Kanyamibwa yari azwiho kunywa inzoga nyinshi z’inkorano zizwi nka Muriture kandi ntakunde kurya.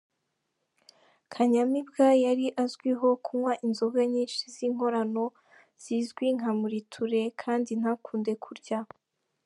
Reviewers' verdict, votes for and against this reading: accepted, 2, 0